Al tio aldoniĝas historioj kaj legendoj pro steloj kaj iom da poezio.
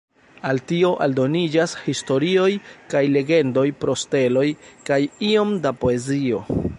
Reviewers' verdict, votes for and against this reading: rejected, 0, 2